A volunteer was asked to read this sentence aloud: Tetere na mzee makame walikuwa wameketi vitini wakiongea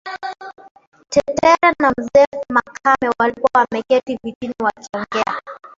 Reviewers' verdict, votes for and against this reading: rejected, 0, 2